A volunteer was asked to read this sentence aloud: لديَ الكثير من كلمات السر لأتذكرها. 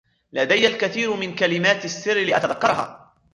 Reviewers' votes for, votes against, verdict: 2, 0, accepted